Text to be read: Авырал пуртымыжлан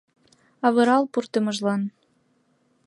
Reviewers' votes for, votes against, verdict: 2, 0, accepted